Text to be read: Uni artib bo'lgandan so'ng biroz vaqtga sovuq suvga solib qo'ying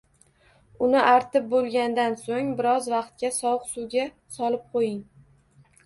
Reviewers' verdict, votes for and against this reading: accepted, 2, 0